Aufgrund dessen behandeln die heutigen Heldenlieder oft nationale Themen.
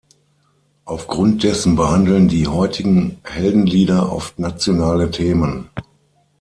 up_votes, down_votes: 6, 0